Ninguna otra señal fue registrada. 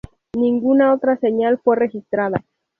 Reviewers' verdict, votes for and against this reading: accepted, 4, 0